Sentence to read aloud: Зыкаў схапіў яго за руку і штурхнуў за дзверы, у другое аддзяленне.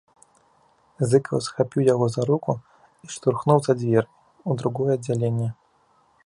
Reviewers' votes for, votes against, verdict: 2, 1, accepted